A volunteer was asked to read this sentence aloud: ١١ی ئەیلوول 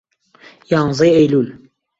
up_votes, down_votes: 0, 2